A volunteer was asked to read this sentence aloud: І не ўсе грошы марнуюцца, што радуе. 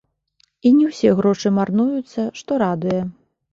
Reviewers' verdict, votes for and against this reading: rejected, 1, 2